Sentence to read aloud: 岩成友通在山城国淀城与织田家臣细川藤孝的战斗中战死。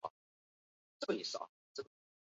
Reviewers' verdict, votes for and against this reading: rejected, 0, 3